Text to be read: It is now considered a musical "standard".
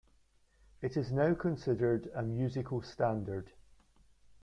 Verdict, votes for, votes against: accepted, 2, 0